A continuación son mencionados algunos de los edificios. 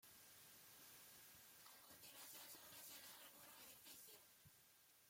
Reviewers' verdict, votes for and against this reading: rejected, 0, 2